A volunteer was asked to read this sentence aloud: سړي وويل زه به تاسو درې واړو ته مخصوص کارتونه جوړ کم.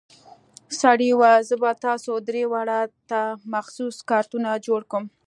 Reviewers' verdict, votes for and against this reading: accepted, 2, 0